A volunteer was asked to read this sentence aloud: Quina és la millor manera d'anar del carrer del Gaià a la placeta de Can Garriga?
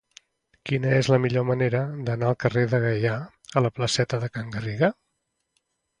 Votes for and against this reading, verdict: 2, 1, accepted